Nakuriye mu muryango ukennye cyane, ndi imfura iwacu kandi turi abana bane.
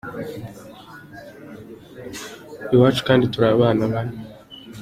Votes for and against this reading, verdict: 0, 2, rejected